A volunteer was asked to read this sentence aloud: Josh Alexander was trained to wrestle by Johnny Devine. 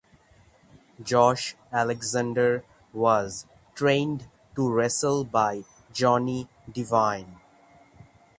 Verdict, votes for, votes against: accepted, 3, 0